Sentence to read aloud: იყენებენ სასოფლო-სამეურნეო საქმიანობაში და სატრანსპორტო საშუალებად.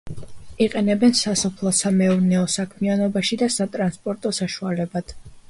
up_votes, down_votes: 1, 2